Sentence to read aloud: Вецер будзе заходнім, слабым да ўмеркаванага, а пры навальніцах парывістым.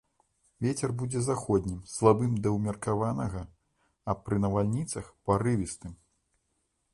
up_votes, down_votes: 1, 2